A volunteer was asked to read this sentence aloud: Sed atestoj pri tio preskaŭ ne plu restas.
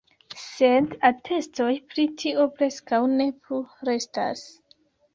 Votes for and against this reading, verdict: 2, 0, accepted